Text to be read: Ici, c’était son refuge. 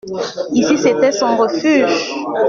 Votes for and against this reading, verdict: 2, 1, accepted